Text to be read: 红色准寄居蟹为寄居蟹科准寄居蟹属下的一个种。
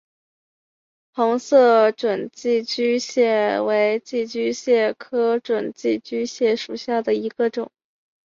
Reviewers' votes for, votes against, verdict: 9, 1, accepted